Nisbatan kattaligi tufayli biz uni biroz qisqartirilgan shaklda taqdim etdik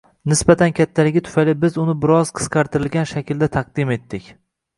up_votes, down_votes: 2, 0